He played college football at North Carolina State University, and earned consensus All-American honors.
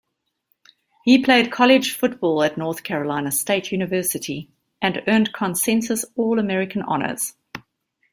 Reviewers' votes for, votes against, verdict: 2, 0, accepted